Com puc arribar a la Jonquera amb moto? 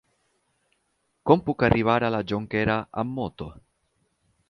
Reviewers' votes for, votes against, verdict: 8, 0, accepted